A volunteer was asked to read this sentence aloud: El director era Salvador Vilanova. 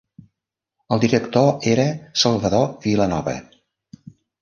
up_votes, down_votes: 1, 2